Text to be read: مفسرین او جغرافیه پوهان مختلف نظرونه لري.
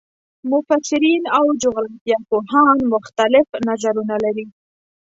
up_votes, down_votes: 2, 0